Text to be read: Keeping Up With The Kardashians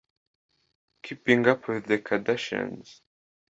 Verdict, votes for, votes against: rejected, 0, 2